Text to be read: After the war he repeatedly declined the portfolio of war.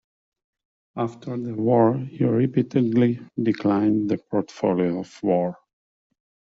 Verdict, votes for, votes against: accepted, 2, 0